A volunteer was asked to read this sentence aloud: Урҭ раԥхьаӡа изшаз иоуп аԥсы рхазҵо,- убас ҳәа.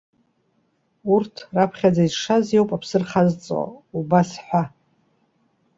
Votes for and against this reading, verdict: 2, 0, accepted